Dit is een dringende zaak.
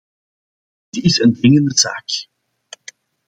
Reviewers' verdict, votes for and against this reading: accepted, 2, 1